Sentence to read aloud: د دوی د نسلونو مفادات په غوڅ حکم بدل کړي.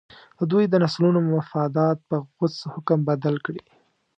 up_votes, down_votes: 2, 0